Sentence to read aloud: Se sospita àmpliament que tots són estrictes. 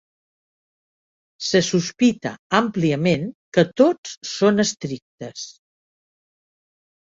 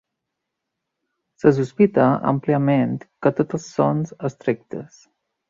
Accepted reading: first